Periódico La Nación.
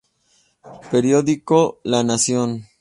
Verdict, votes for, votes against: accepted, 2, 0